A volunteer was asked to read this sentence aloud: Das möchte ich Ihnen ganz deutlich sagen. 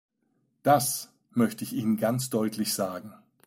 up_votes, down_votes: 2, 0